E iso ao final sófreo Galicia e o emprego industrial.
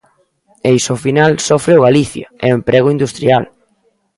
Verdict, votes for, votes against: rejected, 1, 2